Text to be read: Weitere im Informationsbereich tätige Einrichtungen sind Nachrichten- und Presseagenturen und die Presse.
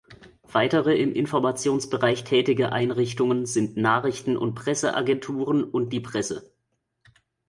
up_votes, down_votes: 2, 1